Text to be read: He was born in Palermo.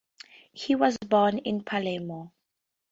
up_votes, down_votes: 2, 0